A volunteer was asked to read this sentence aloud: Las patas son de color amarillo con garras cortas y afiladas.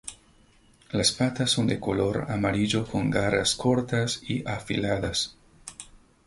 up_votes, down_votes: 2, 0